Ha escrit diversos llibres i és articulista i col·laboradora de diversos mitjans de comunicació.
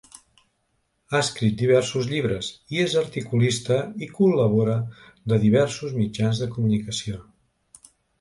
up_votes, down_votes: 0, 2